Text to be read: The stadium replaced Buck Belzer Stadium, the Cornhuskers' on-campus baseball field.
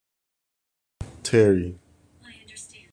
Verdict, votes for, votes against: rejected, 0, 2